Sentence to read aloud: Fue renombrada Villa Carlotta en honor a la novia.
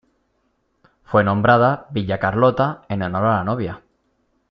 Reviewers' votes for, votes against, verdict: 1, 2, rejected